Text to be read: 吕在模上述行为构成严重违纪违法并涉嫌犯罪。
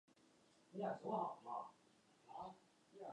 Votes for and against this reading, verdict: 0, 2, rejected